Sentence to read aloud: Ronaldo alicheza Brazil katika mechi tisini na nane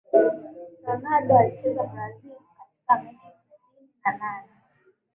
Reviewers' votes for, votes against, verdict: 0, 2, rejected